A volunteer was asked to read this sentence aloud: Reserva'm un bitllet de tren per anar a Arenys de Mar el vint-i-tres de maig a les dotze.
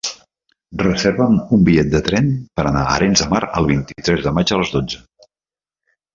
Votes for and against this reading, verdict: 3, 1, accepted